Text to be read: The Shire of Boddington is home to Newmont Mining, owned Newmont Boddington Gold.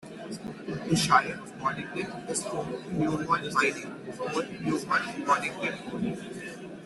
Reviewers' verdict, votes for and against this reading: rejected, 0, 2